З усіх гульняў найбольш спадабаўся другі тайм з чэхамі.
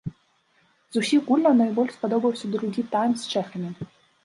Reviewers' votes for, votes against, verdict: 0, 2, rejected